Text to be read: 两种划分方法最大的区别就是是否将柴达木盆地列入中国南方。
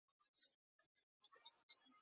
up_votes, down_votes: 1, 2